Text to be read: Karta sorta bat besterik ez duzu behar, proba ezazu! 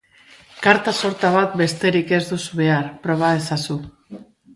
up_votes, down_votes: 2, 2